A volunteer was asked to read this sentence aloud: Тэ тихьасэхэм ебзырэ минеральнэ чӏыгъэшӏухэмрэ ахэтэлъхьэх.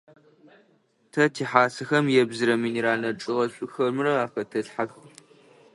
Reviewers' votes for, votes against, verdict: 2, 0, accepted